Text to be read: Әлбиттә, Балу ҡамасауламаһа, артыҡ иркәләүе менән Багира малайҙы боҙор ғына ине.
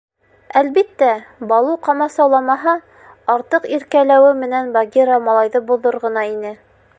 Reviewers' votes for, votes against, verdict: 2, 0, accepted